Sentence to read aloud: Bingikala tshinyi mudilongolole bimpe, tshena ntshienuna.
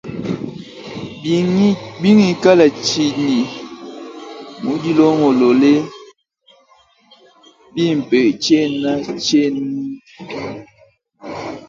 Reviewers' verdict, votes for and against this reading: accepted, 2, 1